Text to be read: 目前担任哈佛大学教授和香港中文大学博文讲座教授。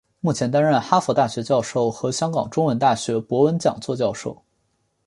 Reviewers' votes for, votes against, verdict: 2, 0, accepted